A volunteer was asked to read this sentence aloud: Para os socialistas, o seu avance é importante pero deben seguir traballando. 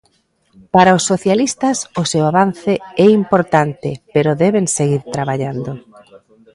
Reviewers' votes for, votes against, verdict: 1, 2, rejected